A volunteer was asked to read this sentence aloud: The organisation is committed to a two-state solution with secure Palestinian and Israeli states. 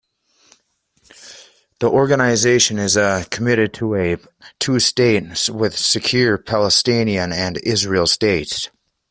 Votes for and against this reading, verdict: 0, 2, rejected